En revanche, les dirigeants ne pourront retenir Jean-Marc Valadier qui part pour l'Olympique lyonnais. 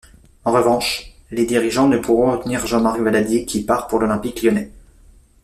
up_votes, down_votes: 0, 2